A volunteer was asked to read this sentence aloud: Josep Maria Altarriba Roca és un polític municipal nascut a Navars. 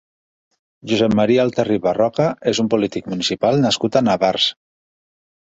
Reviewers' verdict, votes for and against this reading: accepted, 2, 0